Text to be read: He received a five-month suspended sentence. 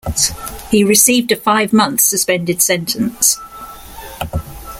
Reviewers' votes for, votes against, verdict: 7, 1, accepted